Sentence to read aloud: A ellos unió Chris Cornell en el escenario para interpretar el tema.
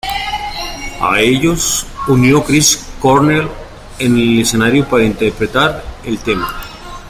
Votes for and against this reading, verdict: 2, 0, accepted